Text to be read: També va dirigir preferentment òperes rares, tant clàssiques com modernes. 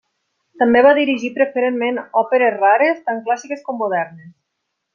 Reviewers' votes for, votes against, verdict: 3, 0, accepted